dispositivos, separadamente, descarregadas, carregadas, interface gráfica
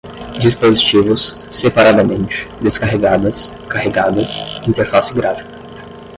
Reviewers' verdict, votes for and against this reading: accepted, 5, 0